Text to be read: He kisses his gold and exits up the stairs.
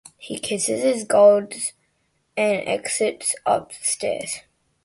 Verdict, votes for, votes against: accepted, 2, 0